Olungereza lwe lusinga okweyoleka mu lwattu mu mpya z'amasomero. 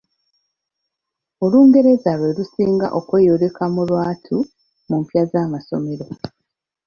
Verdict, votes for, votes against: accepted, 2, 0